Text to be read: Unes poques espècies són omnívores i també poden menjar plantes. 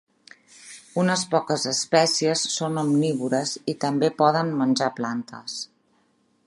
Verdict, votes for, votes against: rejected, 0, 2